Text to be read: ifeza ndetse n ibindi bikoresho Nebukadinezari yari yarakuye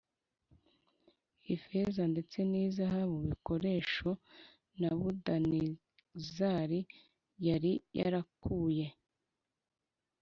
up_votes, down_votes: 1, 2